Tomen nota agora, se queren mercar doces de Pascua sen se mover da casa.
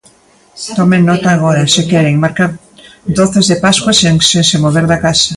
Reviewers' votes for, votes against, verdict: 0, 2, rejected